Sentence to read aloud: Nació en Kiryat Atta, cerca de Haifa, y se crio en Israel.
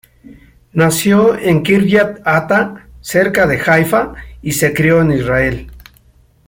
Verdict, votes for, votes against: accepted, 2, 0